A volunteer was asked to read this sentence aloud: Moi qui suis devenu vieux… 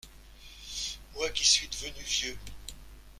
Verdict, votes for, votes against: rejected, 1, 2